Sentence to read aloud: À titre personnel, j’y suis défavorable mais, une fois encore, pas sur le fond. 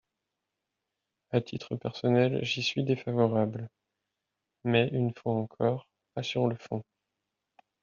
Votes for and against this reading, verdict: 0, 2, rejected